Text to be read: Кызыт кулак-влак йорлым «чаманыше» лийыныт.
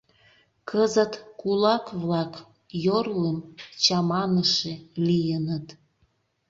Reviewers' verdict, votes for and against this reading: accepted, 2, 0